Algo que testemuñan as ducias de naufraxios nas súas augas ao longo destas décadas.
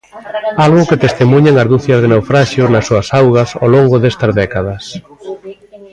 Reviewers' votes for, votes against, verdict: 2, 0, accepted